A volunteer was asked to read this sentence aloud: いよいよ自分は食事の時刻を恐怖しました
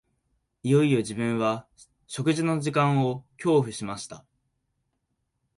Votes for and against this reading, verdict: 1, 2, rejected